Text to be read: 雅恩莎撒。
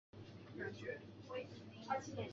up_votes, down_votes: 1, 2